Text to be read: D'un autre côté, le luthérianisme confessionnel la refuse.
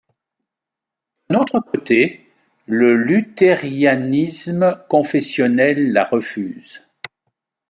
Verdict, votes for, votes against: rejected, 0, 2